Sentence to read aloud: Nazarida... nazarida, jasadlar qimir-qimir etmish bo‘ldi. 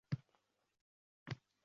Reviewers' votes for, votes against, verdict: 0, 2, rejected